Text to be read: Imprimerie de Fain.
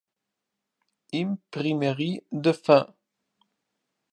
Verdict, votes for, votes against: accepted, 2, 0